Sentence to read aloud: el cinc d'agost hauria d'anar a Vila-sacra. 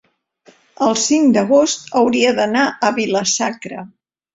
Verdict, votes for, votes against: accepted, 4, 0